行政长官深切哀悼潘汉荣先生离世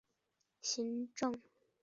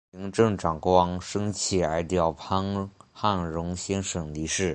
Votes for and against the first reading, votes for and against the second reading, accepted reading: 0, 2, 5, 2, second